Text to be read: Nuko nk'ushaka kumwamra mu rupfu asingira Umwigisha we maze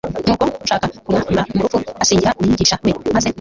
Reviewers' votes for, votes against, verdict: 2, 1, accepted